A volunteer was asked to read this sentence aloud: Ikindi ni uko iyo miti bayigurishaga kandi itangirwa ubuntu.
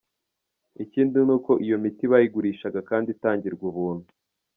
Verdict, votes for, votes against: rejected, 1, 2